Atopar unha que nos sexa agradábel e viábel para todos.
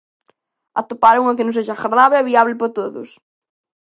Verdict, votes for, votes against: rejected, 1, 2